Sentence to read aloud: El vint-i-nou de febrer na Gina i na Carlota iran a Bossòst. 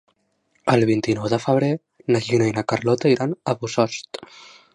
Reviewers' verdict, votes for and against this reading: rejected, 1, 2